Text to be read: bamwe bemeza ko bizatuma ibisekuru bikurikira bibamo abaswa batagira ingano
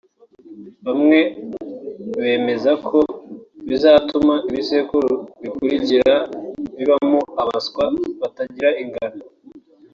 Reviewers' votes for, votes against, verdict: 3, 0, accepted